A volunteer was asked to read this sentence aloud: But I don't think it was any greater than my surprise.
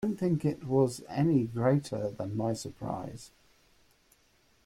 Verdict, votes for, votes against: rejected, 0, 2